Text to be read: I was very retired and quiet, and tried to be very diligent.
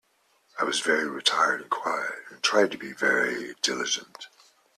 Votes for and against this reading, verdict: 2, 0, accepted